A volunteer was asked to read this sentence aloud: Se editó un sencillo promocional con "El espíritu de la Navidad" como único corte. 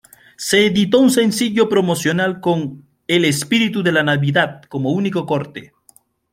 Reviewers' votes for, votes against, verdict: 2, 0, accepted